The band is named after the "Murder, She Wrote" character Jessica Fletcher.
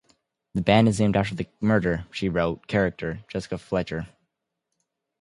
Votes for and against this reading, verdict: 0, 2, rejected